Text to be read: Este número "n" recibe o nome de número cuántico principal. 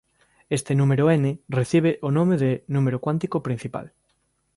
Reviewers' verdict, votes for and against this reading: accepted, 3, 0